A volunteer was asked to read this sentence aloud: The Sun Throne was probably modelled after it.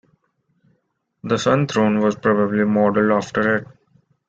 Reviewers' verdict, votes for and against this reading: accepted, 2, 1